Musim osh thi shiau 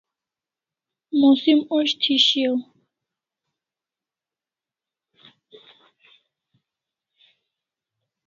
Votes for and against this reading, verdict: 0, 2, rejected